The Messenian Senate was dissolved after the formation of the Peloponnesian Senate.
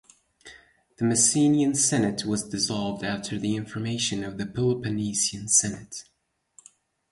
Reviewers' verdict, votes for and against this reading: rejected, 2, 4